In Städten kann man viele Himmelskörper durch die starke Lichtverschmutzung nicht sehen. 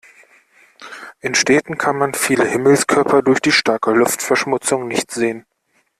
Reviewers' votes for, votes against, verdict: 0, 2, rejected